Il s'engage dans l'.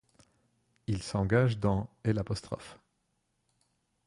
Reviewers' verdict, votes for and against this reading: rejected, 1, 2